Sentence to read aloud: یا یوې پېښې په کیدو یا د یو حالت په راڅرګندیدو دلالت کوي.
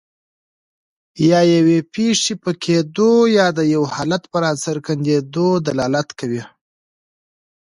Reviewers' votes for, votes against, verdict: 1, 2, rejected